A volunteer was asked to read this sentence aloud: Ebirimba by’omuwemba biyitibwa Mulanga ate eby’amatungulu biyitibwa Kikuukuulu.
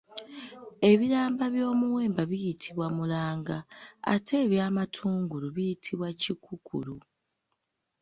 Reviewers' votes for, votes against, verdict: 0, 2, rejected